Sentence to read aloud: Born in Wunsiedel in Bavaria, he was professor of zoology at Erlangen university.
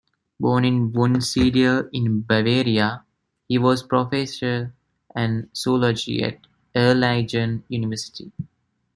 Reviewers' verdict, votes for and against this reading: rejected, 1, 2